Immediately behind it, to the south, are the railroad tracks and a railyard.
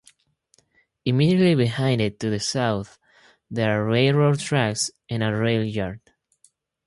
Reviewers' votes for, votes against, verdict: 0, 2, rejected